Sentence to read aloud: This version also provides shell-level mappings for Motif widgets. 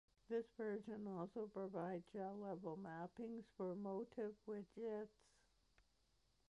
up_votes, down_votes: 2, 0